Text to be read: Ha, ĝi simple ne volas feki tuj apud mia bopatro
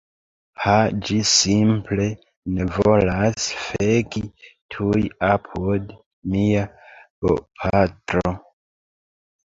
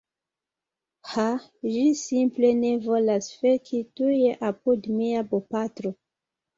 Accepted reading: second